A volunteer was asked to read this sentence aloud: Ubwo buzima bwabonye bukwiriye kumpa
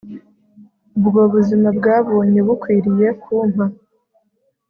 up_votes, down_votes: 3, 0